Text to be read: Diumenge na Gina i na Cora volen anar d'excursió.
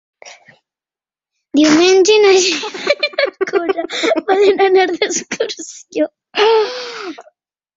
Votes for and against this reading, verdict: 0, 4, rejected